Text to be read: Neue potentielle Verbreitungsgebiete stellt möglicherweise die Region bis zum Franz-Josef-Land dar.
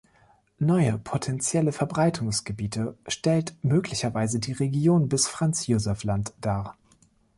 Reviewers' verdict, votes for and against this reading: accepted, 2, 1